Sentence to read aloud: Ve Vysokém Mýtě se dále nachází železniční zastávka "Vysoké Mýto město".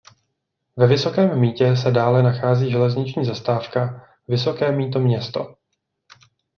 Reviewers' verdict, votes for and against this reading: rejected, 0, 2